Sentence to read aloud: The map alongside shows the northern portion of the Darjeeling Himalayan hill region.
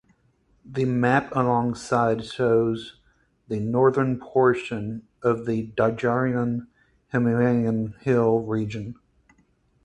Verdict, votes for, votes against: rejected, 2, 4